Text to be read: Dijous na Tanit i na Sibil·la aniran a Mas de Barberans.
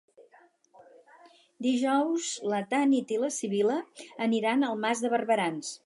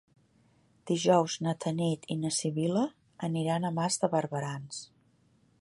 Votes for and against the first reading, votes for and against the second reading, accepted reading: 0, 4, 2, 0, second